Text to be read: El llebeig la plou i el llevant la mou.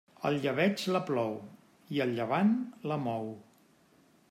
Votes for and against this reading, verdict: 2, 0, accepted